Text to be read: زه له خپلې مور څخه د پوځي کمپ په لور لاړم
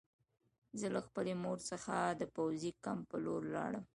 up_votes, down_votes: 2, 0